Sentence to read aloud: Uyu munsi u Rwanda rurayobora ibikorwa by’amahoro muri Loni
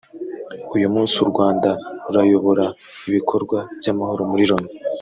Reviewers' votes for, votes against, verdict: 1, 2, rejected